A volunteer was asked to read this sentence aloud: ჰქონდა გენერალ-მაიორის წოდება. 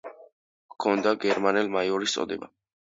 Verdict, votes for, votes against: rejected, 0, 2